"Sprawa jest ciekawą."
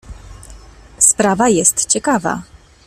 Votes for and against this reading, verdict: 1, 2, rejected